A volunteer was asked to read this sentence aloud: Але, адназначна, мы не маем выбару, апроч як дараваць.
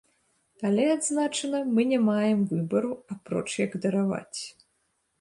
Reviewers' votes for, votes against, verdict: 0, 2, rejected